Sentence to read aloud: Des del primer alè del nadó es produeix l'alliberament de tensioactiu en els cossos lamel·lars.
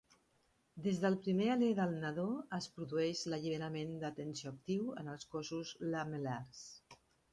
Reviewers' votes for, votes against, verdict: 1, 2, rejected